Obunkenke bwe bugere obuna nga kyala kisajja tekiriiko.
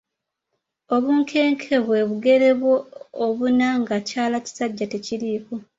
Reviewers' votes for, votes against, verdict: 1, 2, rejected